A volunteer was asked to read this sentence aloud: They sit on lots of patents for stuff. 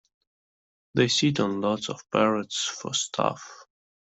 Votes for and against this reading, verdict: 0, 2, rejected